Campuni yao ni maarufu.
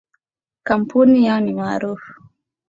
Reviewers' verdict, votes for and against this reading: accepted, 2, 0